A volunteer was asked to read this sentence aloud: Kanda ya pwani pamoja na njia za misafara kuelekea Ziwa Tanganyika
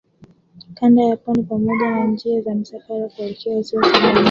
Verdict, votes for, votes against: rejected, 0, 2